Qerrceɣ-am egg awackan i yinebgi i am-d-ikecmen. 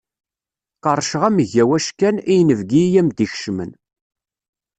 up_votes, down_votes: 2, 0